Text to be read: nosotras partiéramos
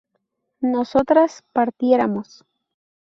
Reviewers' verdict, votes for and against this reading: accepted, 2, 0